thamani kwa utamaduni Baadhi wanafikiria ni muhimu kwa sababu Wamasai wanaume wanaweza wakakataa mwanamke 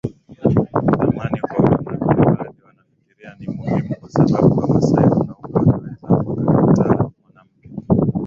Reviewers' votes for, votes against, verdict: 0, 2, rejected